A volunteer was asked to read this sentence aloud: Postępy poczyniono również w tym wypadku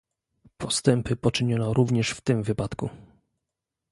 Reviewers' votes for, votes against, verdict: 2, 0, accepted